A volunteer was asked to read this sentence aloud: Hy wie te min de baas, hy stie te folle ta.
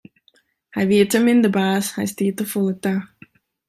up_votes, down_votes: 2, 0